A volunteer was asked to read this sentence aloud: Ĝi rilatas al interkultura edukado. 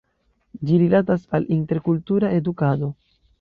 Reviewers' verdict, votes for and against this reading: rejected, 1, 2